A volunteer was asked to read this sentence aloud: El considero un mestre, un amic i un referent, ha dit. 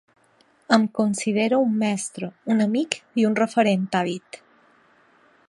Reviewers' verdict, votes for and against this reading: rejected, 1, 2